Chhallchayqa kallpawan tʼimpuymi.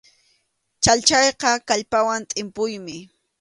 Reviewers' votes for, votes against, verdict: 2, 0, accepted